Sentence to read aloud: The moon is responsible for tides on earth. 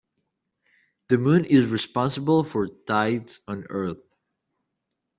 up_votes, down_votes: 3, 0